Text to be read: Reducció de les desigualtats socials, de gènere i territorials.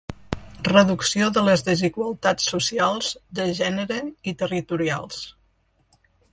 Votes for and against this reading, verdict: 2, 0, accepted